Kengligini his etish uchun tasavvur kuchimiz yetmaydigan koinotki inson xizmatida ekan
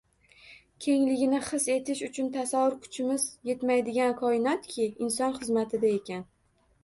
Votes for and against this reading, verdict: 1, 2, rejected